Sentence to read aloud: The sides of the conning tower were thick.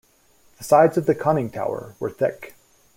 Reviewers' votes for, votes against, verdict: 2, 0, accepted